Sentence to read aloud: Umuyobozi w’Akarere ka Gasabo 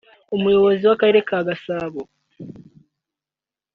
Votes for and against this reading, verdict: 2, 0, accepted